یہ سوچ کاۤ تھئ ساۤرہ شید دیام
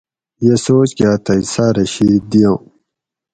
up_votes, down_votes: 4, 0